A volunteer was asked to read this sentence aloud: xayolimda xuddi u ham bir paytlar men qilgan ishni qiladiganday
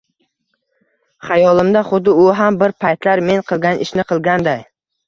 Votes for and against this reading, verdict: 1, 2, rejected